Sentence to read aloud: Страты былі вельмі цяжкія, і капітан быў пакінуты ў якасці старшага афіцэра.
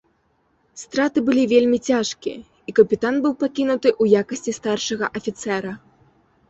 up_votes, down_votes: 2, 0